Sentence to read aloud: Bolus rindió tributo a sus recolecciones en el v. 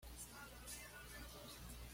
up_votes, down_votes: 1, 2